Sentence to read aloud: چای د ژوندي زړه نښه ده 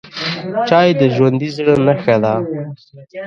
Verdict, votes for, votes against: rejected, 0, 2